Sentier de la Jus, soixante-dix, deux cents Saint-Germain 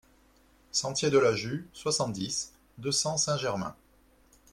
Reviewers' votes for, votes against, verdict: 2, 0, accepted